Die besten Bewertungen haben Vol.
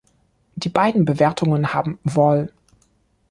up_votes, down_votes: 0, 2